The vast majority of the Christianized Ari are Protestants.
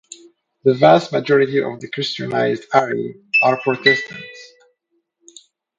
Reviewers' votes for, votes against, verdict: 2, 0, accepted